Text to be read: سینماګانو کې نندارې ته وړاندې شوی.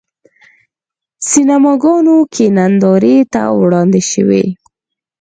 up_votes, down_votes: 4, 0